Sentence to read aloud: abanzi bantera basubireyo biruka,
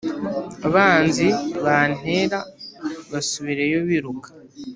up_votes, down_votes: 1, 2